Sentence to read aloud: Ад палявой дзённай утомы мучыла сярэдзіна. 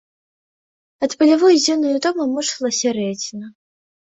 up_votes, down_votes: 2, 1